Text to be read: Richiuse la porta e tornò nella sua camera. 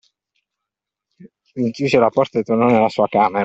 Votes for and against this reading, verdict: 1, 2, rejected